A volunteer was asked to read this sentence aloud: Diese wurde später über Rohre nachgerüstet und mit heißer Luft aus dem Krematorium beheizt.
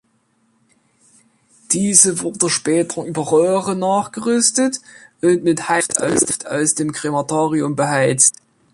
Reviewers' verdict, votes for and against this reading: rejected, 1, 2